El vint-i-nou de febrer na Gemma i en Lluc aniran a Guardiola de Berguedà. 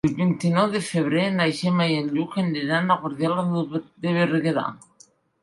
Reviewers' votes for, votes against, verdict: 1, 2, rejected